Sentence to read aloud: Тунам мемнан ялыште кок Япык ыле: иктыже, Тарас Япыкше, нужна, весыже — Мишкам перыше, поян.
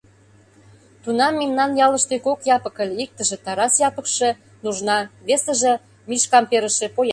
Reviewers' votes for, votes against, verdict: 0, 2, rejected